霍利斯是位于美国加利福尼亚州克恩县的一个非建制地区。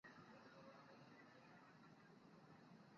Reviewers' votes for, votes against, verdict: 0, 2, rejected